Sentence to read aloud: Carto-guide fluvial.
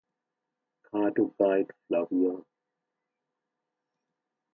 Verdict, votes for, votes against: rejected, 1, 2